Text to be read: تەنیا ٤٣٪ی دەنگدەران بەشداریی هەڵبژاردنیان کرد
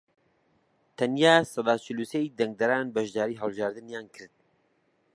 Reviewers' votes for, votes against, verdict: 0, 2, rejected